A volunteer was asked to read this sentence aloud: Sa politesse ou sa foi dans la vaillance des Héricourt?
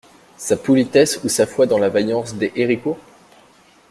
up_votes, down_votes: 2, 0